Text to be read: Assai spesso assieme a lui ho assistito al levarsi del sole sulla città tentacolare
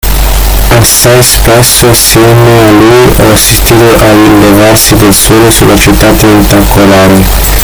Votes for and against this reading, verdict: 1, 2, rejected